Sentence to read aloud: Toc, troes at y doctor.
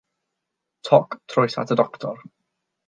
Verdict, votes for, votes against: accepted, 6, 0